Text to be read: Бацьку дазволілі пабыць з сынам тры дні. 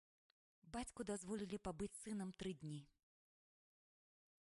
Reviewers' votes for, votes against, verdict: 2, 0, accepted